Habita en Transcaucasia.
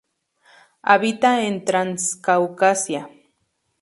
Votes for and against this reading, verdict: 0, 2, rejected